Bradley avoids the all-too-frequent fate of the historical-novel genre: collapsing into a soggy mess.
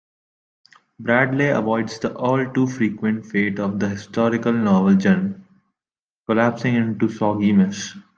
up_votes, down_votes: 2, 0